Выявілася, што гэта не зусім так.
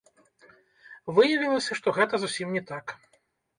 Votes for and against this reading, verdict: 0, 2, rejected